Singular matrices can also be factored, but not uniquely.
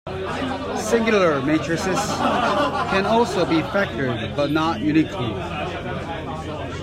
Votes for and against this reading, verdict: 0, 3, rejected